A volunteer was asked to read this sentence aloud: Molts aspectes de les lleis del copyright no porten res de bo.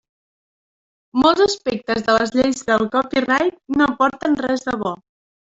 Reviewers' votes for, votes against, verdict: 0, 2, rejected